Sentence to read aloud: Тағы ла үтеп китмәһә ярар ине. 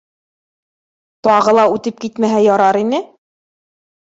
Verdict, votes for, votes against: accepted, 2, 0